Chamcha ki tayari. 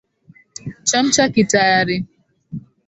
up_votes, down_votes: 2, 0